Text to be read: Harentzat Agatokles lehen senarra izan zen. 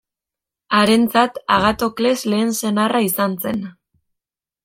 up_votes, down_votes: 2, 0